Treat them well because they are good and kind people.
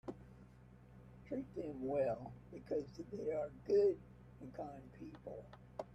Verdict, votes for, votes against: accepted, 2, 1